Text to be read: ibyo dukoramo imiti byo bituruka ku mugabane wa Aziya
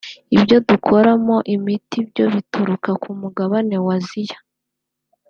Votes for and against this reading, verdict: 2, 0, accepted